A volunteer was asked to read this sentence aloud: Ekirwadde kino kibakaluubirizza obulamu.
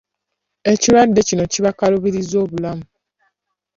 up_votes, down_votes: 2, 0